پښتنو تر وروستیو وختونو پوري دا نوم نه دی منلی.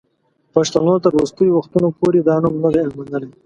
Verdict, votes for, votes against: accepted, 2, 0